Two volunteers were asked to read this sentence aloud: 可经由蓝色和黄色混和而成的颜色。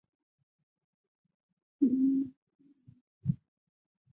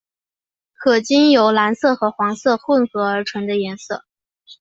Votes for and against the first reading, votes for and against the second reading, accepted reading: 0, 5, 2, 0, second